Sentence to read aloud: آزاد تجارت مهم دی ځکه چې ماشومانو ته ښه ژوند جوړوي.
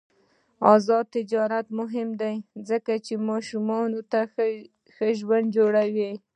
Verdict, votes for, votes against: accepted, 2, 0